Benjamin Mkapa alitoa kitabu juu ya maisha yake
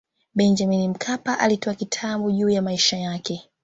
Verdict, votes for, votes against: accepted, 2, 0